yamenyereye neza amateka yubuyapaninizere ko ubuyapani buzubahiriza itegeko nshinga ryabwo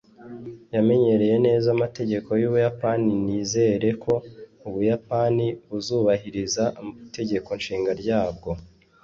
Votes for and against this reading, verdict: 1, 2, rejected